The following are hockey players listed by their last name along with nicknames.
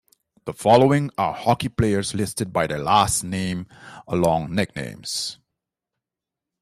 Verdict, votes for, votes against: rejected, 0, 2